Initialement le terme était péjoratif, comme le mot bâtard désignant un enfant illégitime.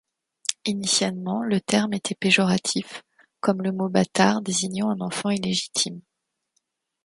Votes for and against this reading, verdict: 2, 0, accepted